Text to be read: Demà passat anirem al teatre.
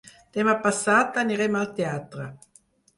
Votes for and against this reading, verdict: 4, 0, accepted